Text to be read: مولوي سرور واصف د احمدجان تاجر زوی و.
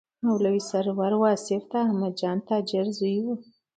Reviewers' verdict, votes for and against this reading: accepted, 2, 0